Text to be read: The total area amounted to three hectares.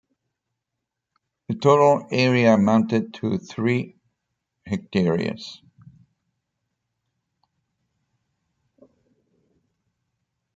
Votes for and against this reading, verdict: 0, 2, rejected